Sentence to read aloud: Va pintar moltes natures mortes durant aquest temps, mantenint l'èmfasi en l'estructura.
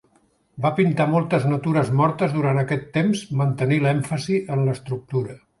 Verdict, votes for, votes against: accepted, 2, 0